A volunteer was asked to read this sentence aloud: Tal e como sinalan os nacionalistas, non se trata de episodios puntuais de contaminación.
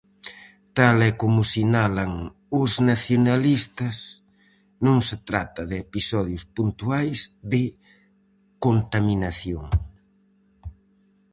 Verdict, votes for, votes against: accepted, 4, 0